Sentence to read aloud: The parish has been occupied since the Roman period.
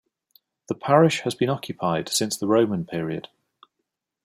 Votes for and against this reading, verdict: 2, 0, accepted